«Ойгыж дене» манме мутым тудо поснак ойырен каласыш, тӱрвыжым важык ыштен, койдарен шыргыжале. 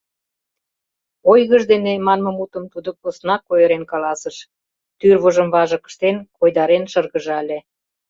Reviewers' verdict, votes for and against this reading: accepted, 2, 0